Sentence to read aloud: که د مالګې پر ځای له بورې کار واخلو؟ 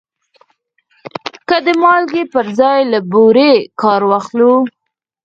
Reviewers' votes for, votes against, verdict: 0, 4, rejected